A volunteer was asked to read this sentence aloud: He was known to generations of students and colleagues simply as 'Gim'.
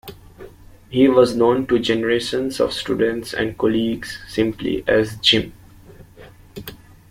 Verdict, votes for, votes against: accepted, 2, 0